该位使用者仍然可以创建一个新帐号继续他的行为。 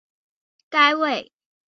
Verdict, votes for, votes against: rejected, 1, 6